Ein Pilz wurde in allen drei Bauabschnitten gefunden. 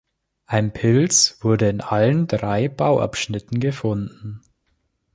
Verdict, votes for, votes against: accepted, 2, 0